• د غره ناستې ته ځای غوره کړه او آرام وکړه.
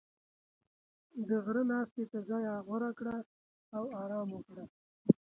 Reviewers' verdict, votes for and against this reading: accepted, 2, 0